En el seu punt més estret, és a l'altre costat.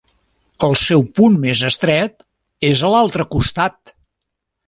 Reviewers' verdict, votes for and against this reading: rejected, 1, 2